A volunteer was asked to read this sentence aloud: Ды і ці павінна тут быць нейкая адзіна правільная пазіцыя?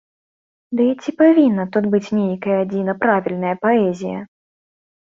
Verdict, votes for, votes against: rejected, 0, 2